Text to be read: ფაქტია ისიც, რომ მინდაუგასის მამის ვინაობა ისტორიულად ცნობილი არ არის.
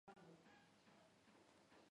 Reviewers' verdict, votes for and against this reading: rejected, 0, 2